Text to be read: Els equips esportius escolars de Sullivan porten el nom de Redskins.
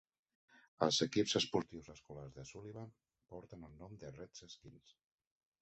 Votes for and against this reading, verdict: 0, 2, rejected